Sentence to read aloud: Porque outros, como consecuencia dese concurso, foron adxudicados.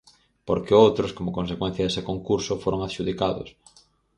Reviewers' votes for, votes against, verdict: 4, 0, accepted